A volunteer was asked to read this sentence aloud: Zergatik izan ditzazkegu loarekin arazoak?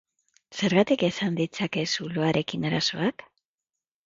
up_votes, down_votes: 0, 2